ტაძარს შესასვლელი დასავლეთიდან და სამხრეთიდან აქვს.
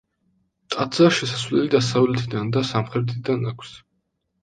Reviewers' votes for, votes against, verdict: 2, 0, accepted